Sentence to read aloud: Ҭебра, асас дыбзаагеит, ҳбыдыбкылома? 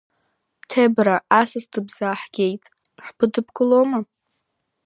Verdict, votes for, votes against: rejected, 1, 2